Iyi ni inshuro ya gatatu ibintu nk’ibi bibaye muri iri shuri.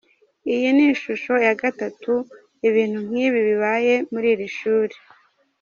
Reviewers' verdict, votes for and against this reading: rejected, 1, 2